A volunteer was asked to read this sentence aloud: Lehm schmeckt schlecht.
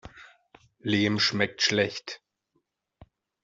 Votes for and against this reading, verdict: 2, 0, accepted